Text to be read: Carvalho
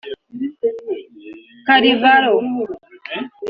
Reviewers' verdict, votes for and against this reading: rejected, 2, 3